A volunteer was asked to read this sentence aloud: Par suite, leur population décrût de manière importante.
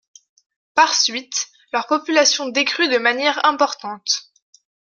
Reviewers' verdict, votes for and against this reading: accepted, 2, 0